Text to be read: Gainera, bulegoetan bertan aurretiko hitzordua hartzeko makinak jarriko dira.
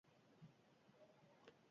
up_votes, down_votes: 0, 2